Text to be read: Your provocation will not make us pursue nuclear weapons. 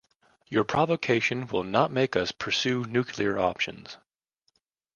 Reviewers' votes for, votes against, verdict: 1, 2, rejected